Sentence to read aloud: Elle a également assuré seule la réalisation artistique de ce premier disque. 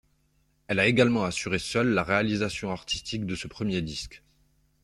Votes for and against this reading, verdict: 1, 2, rejected